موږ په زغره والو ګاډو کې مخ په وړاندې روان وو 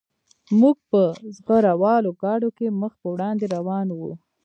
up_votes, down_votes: 2, 0